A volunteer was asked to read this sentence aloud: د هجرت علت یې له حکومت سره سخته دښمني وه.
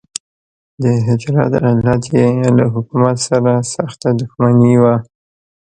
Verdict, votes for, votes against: rejected, 0, 2